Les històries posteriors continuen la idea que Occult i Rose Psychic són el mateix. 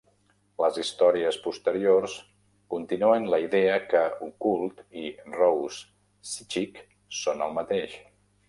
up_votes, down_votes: 0, 2